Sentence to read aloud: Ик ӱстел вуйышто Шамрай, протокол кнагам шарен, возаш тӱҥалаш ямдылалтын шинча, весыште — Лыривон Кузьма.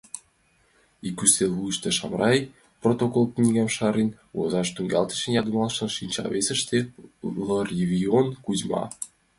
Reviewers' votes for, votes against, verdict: 0, 2, rejected